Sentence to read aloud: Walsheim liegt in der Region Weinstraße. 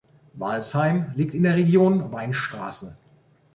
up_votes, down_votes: 3, 1